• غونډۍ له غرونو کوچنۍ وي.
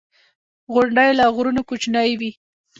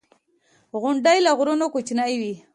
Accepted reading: second